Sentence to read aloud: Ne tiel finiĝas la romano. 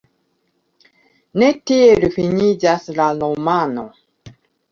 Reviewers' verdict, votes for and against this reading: rejected, 1, 2